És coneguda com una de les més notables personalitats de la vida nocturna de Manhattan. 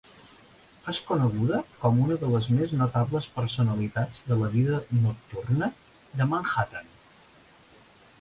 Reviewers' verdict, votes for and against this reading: accepted, 5, 0